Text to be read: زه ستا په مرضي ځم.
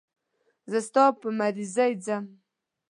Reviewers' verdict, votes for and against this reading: rejected, 0, 2